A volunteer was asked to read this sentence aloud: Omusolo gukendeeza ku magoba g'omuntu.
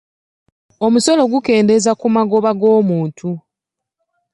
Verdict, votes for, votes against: accepted, 2, 0